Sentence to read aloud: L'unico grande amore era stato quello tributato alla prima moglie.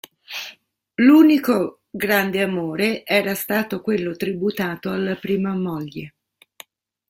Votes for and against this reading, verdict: 2, 0, accepted